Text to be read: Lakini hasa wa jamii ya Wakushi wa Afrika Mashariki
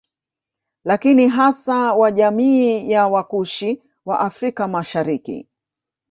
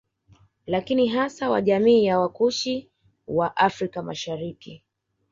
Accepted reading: second